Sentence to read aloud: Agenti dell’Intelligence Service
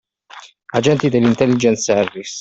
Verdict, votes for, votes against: accepted, 2, 0